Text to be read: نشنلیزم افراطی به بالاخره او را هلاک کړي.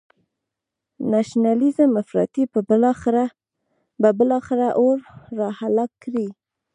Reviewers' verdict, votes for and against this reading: rejected, 2, 3